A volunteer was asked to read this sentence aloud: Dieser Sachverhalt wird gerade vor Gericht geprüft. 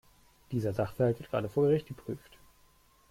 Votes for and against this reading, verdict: 2, 1, accepted